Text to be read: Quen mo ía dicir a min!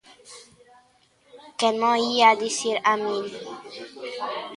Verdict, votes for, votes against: rejected, 1, 2